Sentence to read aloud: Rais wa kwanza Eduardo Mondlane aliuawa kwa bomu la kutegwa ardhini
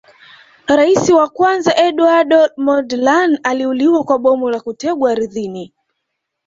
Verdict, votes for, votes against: accepted, 2, 1